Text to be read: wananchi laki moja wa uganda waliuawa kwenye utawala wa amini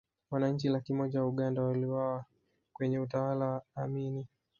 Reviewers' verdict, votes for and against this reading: rejected, 0, 3